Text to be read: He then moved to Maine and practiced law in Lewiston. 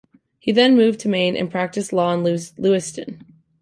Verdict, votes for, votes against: accepted, 2, 1